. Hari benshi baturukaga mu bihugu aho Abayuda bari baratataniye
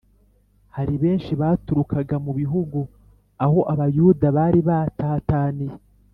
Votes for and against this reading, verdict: 1, 2, rejected